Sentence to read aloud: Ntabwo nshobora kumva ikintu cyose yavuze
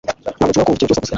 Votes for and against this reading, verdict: 1, 2, rejected